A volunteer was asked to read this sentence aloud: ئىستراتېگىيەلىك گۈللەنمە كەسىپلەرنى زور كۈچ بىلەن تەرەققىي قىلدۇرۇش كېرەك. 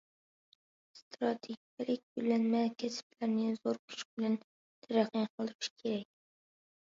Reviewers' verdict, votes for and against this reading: rejected, 0, 2